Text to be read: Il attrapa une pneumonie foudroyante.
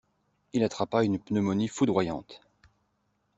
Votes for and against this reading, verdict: 2, 0, accepted